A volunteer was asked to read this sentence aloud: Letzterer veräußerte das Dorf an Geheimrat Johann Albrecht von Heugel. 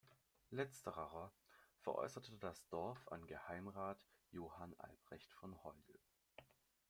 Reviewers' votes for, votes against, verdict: 0, 2, rejected